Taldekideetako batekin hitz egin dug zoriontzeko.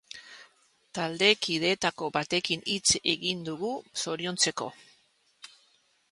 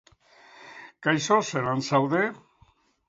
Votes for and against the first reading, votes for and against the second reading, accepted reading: 2, 1, 0, 3, first